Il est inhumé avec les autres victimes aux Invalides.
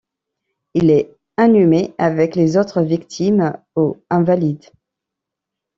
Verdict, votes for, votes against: rejected, 1, 2